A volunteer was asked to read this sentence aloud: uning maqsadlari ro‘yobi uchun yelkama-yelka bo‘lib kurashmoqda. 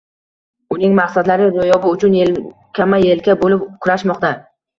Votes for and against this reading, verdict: 1, 2, rejected